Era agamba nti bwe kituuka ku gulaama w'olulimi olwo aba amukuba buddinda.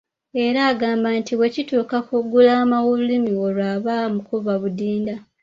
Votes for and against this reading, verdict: 2, 0, accepted